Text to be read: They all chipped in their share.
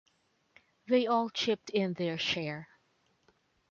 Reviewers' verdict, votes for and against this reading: rejected, 1, 2